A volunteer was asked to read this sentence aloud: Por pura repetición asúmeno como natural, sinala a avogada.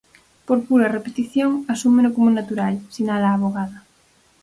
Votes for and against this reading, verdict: 4, 0, accepted